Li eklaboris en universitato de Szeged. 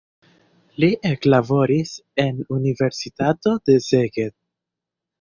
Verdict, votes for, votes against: accepted, 2, 0